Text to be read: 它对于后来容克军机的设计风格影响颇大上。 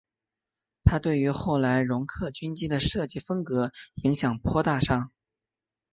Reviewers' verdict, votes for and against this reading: accepted, 3, 1